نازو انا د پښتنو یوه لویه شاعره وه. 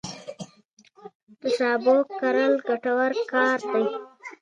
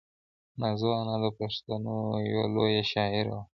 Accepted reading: first